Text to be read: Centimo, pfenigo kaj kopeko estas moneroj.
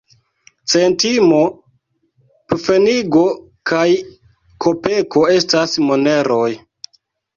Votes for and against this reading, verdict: 2, 1, accepted